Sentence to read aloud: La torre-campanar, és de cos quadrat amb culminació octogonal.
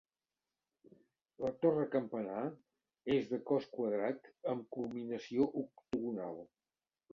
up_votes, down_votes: 1, 2